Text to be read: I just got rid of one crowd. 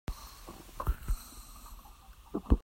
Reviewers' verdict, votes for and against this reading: rejected, 0, 2